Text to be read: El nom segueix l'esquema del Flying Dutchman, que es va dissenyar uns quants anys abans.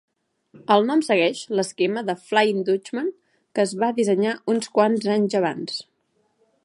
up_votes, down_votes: 2, 0